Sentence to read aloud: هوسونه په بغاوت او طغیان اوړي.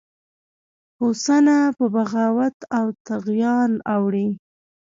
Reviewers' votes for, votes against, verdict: 1, 2, rejected